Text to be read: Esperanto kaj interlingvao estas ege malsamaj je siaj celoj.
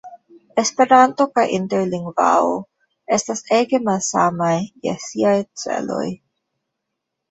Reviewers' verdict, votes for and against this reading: accepted, 2, 1